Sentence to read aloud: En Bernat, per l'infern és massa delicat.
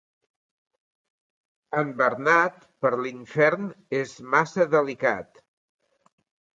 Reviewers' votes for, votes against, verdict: 4, 0, accepted